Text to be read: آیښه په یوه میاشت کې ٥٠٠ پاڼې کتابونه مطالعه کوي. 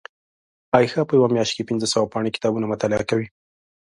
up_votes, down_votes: 0, 2